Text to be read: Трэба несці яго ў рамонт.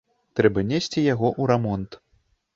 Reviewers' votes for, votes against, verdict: 1, 2, rejected